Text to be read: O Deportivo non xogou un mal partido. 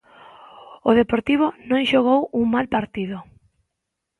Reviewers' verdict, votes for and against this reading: accepted, 2, 0